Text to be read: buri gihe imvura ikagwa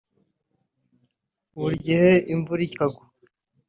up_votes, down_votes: 0, 2